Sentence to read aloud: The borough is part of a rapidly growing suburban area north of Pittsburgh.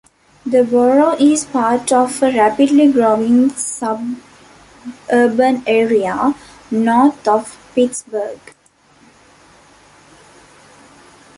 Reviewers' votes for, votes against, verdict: 0, 2, rejected